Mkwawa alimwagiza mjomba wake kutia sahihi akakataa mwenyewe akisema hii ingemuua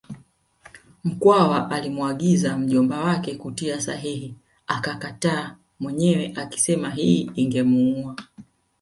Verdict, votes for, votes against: accepted, 2, 0